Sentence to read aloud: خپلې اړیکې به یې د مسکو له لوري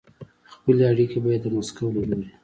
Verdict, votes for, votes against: accepted, 2, 0